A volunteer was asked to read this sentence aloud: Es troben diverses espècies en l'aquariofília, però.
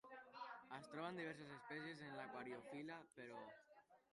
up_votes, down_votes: 0, 2